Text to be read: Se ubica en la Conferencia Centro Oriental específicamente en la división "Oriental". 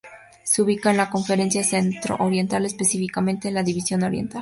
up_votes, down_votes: 2, 0